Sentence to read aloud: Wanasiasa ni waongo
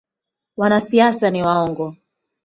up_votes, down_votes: 3, 0